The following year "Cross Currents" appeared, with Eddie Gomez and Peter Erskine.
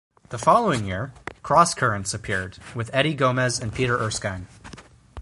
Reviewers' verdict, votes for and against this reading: rejected, 2, 4